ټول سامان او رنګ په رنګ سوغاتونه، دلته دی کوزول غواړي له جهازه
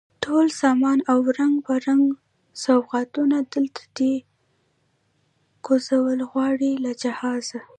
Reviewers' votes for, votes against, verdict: 1, 2, rejected